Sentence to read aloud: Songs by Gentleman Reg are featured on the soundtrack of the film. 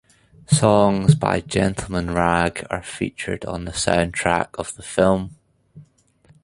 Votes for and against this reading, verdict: 1, 2, rejected